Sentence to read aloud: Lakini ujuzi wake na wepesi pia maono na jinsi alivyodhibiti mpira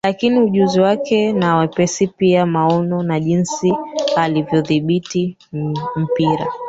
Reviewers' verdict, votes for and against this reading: rejected, 1, 2